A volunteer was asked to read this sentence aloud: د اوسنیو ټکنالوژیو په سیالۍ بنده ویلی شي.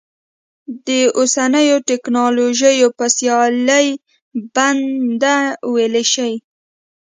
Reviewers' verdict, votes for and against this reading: accepted, 2, 0